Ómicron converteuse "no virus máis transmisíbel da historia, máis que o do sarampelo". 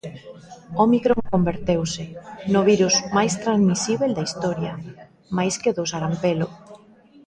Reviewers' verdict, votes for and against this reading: accepted, 2, 0